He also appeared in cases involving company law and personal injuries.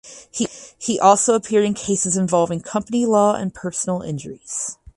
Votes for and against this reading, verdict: 2, 4, rejected